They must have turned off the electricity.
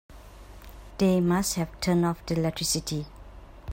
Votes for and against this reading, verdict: 2, 3, rejected